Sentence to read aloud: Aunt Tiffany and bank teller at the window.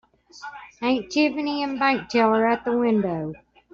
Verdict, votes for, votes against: accepted, 2, 0